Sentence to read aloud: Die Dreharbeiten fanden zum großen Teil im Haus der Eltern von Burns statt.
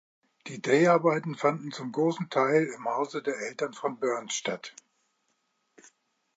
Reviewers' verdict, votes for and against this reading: rejected, 0, 2